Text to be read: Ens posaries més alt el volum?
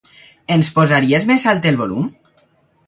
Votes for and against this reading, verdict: 2, 0, accepted